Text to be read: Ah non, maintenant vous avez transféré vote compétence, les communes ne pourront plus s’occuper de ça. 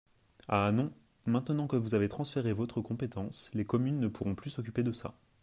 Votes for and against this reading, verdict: 0, 2, rejected